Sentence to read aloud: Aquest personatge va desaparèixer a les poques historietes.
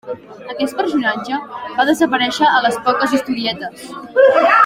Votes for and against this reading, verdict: 2, 1, accepted